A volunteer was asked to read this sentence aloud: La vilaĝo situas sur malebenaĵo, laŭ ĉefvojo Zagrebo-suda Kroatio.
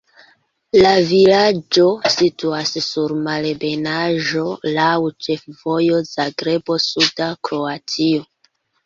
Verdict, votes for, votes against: accepted, 2, 1